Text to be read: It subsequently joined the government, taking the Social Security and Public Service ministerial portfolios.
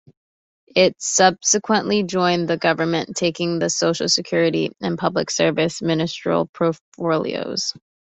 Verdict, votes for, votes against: rejected, 1, 2